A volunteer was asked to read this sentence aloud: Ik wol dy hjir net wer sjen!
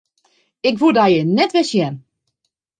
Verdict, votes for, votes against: rejected, 1, 2